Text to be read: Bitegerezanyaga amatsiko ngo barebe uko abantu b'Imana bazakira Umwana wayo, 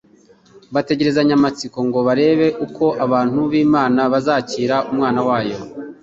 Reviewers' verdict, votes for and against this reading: rejected, 0, 2